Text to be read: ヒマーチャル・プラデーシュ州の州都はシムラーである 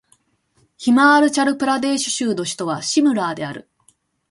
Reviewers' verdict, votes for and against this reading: accepted, 2, 0